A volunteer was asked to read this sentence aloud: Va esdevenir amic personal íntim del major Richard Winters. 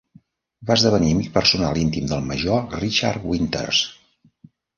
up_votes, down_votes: 0, 2